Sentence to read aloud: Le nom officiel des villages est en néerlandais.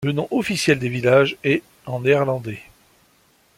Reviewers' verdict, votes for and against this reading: accepted, 2, 0